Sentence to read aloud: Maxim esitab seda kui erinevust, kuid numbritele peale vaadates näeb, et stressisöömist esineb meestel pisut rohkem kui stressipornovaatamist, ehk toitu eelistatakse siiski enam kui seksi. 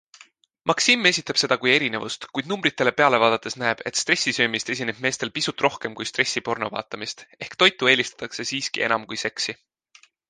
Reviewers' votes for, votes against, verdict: 2, 0, accepted